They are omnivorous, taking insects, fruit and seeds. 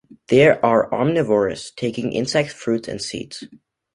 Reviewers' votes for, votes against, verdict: 2, 1, accepted